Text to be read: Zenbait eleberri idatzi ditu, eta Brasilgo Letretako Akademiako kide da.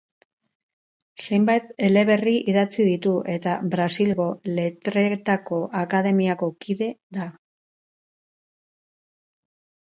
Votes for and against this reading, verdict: 2, 4, rejected